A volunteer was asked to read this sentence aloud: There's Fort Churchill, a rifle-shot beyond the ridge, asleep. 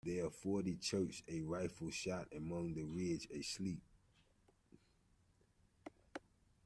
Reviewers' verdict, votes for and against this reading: rejected, 0, 2